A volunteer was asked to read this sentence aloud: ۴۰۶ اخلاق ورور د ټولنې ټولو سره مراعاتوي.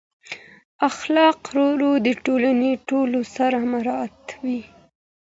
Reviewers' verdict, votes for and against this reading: rejected, 0, 2